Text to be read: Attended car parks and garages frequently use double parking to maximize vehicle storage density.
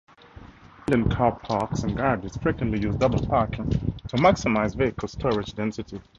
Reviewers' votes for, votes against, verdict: 0, 4, rejected